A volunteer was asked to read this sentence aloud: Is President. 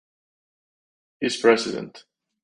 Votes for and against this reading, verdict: 2, 2, rejected